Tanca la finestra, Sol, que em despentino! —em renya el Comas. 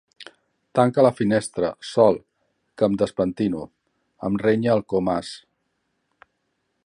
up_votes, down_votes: 1, 2